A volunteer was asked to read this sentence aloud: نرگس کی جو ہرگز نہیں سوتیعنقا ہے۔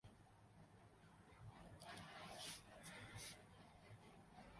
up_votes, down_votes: 0, 2